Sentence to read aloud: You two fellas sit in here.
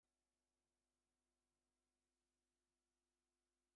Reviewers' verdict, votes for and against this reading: rejected, 0, 3